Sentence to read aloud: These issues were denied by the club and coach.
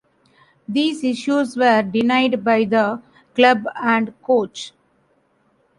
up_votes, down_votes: 1, 2